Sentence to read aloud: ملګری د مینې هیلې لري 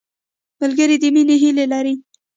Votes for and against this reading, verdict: 1, 2, rejected